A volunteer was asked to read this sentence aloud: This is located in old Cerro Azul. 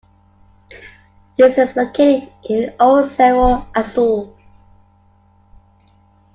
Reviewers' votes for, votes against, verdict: 2, 0, accepted